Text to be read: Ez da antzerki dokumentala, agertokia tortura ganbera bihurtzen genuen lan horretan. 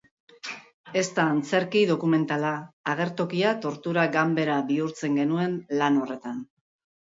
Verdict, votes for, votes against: accepted, 2, 0